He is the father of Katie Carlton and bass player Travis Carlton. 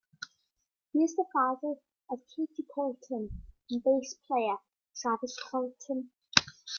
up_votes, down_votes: 0, 2